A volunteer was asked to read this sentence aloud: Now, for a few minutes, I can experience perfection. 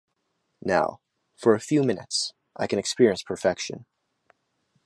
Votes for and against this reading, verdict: 2, 0, accepted